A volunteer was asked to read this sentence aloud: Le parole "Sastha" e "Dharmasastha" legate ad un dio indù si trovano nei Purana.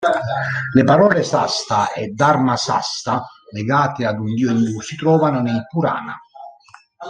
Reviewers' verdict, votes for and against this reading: rejected, 1, 2